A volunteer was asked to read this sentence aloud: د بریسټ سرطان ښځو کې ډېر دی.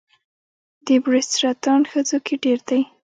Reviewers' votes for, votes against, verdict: 2, 0, accepted